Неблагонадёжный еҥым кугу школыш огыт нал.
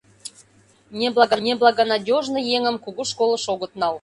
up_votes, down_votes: 0, 2